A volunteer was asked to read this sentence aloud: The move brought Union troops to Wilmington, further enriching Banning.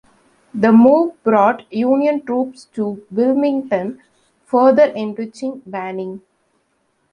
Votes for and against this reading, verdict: 2, 0, accepted